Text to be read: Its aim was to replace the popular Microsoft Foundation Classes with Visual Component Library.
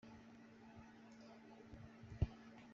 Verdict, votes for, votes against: rejected, 0, 2